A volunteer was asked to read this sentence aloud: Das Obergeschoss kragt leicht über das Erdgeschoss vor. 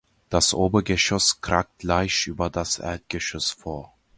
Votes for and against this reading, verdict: 2, 0, accepted